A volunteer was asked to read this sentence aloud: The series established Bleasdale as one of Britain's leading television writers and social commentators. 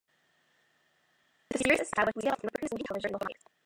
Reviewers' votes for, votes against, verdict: 1, 2, rejected